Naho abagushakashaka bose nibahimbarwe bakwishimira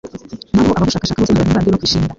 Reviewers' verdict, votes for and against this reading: rejected, 1, 2